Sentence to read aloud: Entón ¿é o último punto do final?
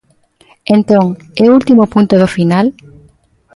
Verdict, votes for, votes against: accepted, 2, 0